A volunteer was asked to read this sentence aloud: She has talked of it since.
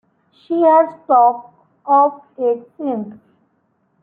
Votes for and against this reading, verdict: 1, 2, rejected